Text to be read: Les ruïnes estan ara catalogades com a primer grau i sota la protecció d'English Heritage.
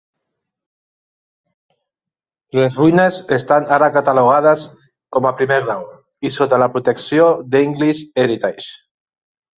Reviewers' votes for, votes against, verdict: 2, 1, accepted